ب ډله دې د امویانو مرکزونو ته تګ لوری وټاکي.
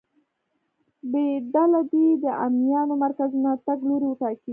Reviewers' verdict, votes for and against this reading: rejected, 0, 2